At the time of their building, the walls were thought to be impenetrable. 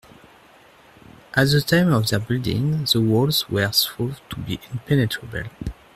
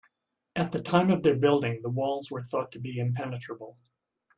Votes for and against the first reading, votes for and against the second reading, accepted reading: 1, 2, 2, 0, second